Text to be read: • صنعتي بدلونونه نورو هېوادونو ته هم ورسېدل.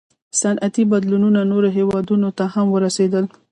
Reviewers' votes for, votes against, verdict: 1, 2, rejected